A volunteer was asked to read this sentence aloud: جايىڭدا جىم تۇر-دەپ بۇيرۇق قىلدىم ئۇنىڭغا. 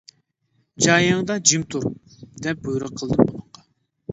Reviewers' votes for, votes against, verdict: 1, 2, rejected